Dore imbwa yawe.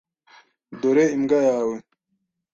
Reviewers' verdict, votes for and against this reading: accepted, 2, 0